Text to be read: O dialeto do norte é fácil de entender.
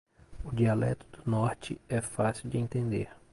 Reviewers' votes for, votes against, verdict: 1, 2, rejected